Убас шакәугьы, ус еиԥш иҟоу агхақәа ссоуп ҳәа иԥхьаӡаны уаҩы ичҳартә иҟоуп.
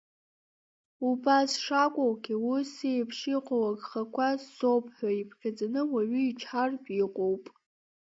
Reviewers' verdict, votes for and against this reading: accepted, 2, 1